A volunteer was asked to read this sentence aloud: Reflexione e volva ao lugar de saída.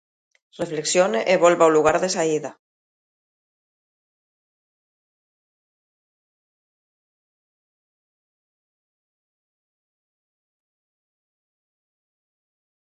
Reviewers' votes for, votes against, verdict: 2, 0, accepted